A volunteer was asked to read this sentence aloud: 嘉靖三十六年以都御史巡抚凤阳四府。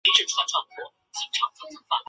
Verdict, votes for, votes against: rejected, 0, 4